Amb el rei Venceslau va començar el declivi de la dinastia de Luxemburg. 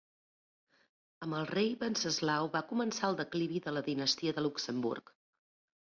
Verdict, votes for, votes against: accepted, 2, 0